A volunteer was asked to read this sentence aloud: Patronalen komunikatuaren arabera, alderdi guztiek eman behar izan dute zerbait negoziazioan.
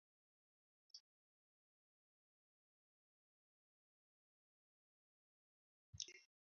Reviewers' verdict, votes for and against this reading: rejected, 0, 4